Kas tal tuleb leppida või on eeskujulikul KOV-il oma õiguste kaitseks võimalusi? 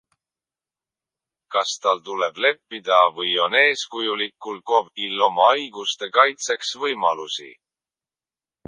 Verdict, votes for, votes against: rejected, 0, 2